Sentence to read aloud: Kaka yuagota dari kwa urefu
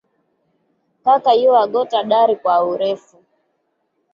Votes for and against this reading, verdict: 2, 0, accepted